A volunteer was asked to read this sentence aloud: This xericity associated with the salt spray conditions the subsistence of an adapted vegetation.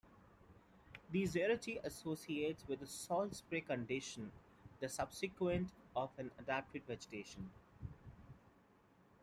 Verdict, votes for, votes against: rejected, 1, 2